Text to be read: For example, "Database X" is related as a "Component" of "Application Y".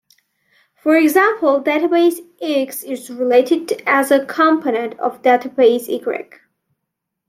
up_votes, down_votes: 0, 2